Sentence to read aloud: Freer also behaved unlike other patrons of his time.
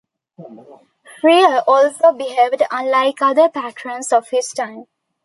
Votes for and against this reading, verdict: 1, 2, rejected